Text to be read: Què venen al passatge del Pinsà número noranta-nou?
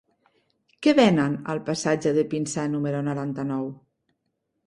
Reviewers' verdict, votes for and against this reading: rejected, 0, 2